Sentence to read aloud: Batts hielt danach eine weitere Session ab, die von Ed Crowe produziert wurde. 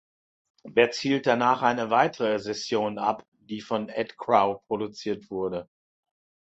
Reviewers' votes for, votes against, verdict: 1, 2, rejected